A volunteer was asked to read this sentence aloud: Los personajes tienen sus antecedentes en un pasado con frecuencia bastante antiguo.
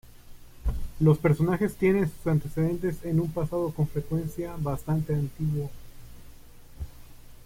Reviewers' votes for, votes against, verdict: 2, 0, accepted